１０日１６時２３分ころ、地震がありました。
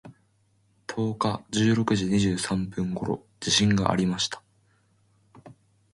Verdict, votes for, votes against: rejected, 0, 2